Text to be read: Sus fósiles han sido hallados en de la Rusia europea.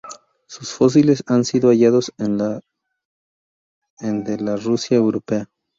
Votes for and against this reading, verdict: 2, 4, rejected